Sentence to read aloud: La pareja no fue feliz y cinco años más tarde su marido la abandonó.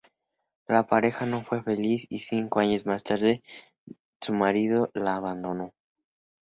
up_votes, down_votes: 2, 0